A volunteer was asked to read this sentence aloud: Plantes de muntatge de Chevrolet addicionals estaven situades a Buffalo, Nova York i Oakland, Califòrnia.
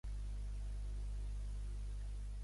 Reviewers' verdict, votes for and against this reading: rejected, 0, 2